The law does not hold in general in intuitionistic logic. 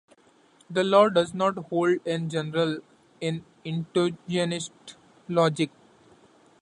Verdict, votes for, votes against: rejected, 0, 2